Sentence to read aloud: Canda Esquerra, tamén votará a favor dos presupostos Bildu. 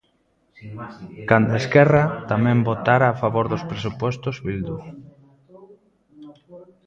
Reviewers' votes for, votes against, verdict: 0, 3, rejected